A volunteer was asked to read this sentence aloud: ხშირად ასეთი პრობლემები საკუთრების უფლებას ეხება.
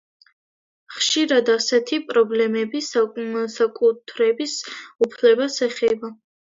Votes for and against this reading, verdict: 1, 2, rejected